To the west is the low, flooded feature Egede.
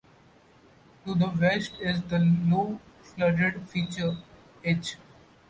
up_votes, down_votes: 1, 2